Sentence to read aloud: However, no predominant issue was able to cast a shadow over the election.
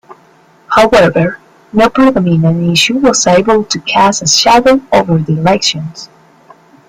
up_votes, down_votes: 0, 2